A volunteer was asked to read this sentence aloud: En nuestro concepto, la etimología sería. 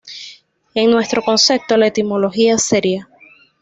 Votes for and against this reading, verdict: 2, 0, accepted